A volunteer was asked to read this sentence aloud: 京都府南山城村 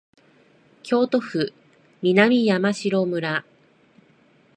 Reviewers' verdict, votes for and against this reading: accepted, 2, 0